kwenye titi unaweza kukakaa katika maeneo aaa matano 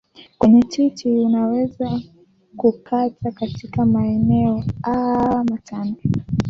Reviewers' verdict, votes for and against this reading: rejected, 0, 2